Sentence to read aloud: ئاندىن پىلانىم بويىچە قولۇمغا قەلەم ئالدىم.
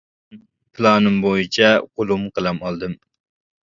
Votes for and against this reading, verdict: 0, 2, rejected